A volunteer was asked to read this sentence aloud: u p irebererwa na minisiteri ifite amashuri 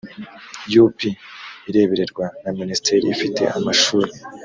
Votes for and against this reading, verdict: 4, 0, accepted